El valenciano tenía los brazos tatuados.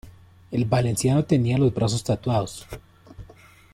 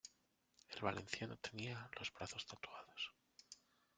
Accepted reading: first